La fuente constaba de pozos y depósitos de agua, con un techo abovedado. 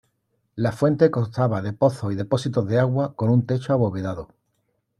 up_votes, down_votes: 2, 0